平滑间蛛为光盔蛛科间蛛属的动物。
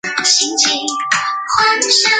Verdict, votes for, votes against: rejected, 1, 2